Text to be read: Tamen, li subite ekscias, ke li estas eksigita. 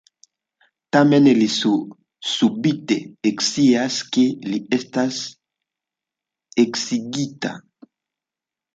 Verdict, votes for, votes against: accepted, 2, 1